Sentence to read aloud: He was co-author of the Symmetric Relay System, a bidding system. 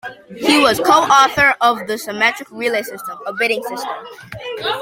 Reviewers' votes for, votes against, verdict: 1, 2, rejected